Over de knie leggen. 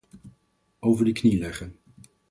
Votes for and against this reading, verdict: 4, 0, accepted